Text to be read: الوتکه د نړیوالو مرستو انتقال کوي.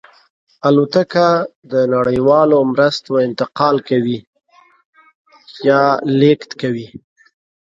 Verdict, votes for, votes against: rejected, 0, 2